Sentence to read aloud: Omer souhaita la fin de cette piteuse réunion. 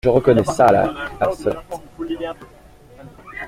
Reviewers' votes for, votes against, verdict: 0, 2, rejected